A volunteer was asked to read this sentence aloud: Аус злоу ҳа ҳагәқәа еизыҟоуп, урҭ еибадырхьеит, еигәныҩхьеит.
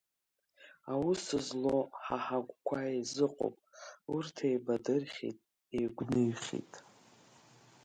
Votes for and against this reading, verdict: 2, 1, accepted